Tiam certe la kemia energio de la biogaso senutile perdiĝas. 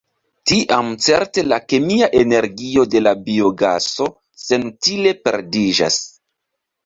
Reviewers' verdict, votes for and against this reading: accepted, 2, 1